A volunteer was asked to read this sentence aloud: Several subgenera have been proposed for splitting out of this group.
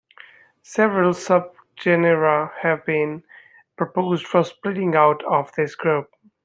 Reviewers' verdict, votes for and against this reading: rejected, 1, 2